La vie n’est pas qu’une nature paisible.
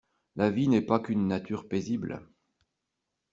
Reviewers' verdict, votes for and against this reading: accepted, 2, 0